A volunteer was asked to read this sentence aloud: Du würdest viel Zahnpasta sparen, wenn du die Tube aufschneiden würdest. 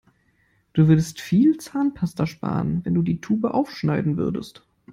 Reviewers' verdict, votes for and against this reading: accepted, 2, 0